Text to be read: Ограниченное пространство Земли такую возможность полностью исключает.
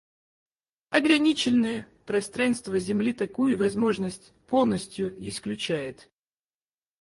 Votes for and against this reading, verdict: 2, 4, rejected